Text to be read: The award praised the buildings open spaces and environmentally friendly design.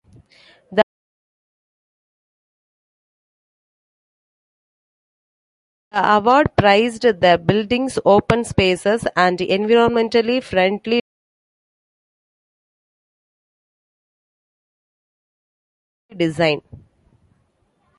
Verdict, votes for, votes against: rejected, 1, 2